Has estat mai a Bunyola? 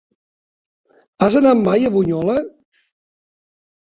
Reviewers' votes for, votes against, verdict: 0, 2, rejected